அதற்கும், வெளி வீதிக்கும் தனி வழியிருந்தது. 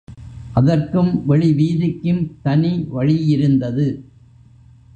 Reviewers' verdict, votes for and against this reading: accepted, 2, 0